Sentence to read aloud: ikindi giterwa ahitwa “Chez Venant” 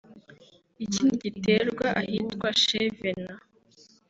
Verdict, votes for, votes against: accepted, 2, 0